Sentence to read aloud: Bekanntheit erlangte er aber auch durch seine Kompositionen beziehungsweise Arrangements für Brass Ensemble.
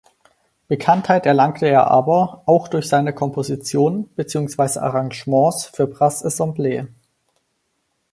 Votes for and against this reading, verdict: 2, 4, rejected